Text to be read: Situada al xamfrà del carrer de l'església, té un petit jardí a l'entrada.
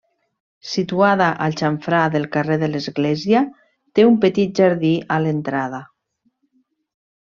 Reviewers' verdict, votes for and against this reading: accepted, 3, 0